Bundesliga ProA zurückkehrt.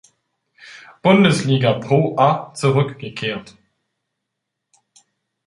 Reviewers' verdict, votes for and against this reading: rejected, 1, 2